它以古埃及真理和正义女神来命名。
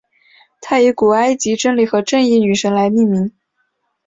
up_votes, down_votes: 5, 0